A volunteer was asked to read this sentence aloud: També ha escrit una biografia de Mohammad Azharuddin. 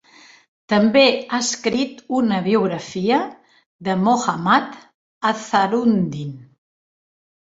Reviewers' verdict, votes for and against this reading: rejected, 1, 2